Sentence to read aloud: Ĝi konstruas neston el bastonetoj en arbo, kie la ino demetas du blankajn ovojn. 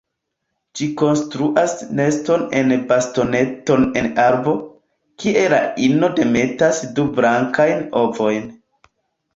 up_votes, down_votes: 1, 2